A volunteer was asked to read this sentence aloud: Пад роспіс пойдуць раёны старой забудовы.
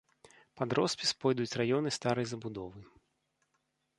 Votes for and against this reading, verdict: 1, 2, rejected